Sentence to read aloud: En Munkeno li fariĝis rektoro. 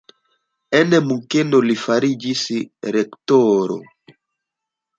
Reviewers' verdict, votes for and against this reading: accepted, 2, 0